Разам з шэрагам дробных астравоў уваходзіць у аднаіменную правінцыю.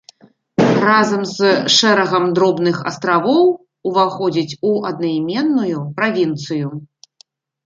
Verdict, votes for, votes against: rejected, 0, 2